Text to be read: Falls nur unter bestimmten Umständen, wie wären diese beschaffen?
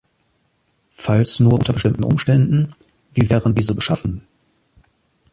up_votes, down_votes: 2, 0